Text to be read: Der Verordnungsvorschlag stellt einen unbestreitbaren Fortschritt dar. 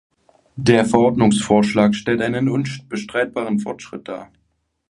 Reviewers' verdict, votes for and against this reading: rejected, 0, 2